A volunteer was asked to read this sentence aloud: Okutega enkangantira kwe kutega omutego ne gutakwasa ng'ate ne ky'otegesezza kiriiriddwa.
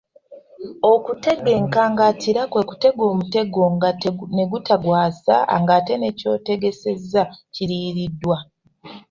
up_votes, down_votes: 1, 2